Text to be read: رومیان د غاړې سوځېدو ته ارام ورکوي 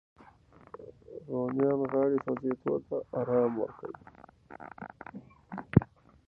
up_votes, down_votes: 0, 2